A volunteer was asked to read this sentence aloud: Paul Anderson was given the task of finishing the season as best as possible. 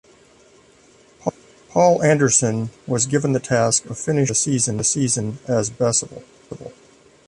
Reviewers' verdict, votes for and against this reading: rejected, 1, 2